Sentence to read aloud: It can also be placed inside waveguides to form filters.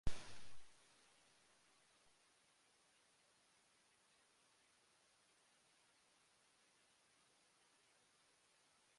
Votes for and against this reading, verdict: 0, 2, rejected